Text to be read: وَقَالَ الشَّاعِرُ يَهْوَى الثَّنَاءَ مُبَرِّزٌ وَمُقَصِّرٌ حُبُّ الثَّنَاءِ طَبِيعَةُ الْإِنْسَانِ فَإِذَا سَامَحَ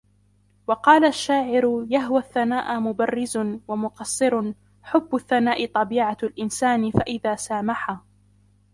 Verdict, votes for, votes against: rejected, 1, 2